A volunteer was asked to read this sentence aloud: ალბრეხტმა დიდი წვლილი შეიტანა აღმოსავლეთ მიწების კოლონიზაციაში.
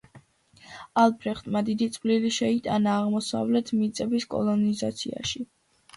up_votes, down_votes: 2, 0